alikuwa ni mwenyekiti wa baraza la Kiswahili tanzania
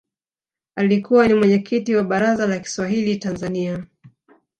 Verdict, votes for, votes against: accepted, 5, 2